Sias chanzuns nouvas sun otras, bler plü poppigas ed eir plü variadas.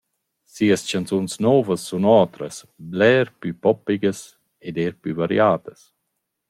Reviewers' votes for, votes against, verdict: 2, 0, accepted